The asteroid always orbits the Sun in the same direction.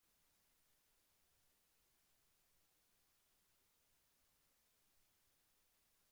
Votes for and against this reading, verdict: 0, 2, rejected